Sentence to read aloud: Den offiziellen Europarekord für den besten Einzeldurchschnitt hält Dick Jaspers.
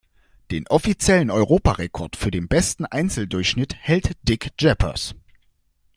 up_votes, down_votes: 0, 2